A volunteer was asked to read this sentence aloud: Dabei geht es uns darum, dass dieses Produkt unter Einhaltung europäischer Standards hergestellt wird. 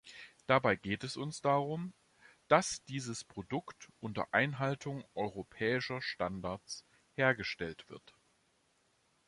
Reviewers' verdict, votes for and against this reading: accepted, 2, 0